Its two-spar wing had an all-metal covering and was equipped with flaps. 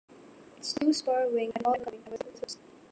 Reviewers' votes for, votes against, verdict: 0, 2, rejected